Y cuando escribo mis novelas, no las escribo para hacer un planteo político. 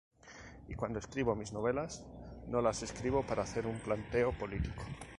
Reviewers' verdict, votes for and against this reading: accepted, 6, 0